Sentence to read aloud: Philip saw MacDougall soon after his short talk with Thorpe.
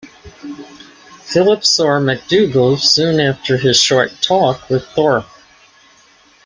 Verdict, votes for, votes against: accepted, 2, 1